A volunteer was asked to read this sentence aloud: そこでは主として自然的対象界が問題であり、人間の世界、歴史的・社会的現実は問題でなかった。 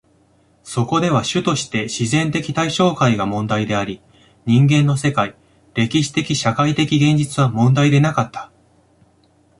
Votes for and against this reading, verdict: 2, 0, accepted